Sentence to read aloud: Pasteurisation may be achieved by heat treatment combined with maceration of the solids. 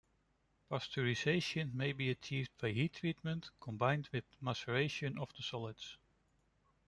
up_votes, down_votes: 2, 0